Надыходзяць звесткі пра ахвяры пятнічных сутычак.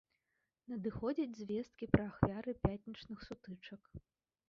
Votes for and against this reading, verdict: 1, 2, rejected